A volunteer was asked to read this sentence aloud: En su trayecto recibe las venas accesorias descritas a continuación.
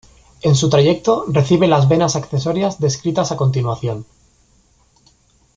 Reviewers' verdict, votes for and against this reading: accepted, 2, 0